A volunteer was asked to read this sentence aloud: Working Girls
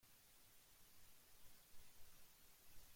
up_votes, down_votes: 1, 2